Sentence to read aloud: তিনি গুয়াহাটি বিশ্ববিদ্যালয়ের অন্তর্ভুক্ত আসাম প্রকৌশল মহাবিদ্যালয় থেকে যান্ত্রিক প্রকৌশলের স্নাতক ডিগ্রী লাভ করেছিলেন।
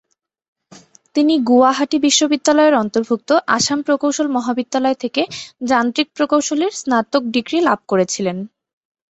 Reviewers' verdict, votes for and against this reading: accepted, 2, 0